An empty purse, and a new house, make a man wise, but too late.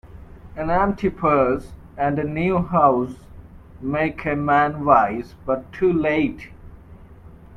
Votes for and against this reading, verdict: 2, 0, accepted